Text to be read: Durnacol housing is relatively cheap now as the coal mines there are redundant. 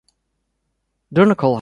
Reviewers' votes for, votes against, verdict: 0, 2, rejected